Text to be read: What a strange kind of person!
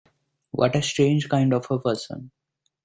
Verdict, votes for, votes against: rejected, 0, 2